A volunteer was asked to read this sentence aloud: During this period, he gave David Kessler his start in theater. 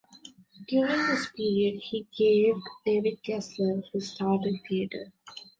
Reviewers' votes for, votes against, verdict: 0, 2, rejected